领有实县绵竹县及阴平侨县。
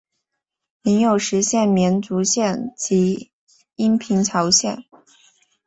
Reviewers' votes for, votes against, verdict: 4, 0, accepted